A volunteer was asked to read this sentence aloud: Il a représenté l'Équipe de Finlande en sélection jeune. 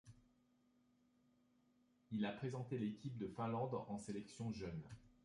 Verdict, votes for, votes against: rejected, 0, 2